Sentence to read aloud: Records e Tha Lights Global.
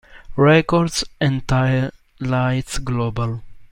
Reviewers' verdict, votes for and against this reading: rejected, 1, 2